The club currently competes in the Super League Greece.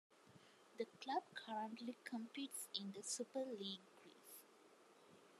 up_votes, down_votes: 1, 2